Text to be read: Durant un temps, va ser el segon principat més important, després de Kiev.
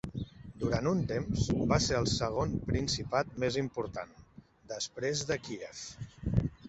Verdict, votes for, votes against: accepted, 2, 0